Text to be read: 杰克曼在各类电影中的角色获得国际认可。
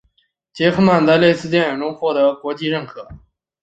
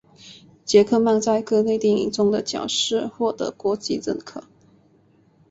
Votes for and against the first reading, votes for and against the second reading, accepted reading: 1, 3, 5, 2, second